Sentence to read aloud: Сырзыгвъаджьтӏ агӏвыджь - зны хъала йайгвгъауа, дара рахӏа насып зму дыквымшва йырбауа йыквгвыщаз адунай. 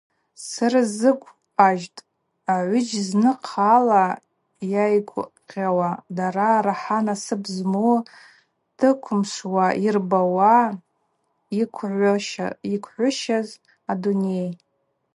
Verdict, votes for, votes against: accepted, 2, 0